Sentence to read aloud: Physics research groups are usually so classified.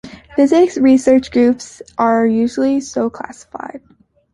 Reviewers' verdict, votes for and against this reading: accepted, 2, 1